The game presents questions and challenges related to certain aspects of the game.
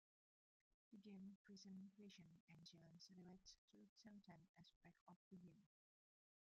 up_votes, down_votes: 0, 2